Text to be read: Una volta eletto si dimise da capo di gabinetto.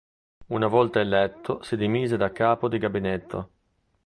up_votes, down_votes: 2, 0